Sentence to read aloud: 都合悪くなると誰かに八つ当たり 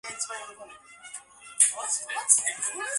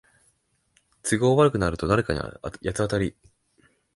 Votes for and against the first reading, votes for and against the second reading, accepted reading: 0, 2, 2, 1, second